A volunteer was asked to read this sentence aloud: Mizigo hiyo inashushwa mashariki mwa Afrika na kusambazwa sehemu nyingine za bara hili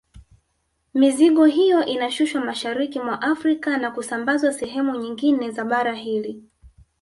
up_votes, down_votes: 1, 2